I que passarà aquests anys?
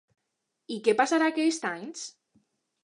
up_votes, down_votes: 2, 0